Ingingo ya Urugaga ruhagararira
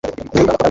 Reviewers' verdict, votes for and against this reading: rejected, 1, 2